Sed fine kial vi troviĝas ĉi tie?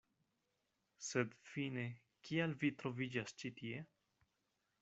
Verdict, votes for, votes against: accepted, 2, 0